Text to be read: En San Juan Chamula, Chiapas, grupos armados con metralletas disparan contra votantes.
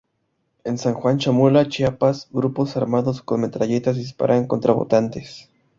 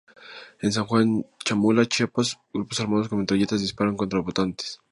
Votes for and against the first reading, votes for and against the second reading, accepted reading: 4, 0, 2, 2, first